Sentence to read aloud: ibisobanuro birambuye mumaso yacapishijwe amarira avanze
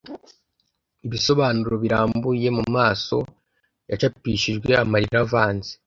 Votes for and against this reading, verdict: 2, 0, accepted